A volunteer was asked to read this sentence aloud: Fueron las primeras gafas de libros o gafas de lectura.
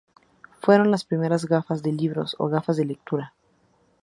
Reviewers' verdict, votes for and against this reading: accepted, 6, 0